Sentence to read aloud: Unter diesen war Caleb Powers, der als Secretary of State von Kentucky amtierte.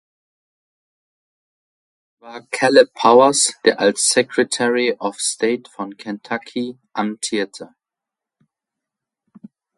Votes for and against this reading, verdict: 0, 2, rejected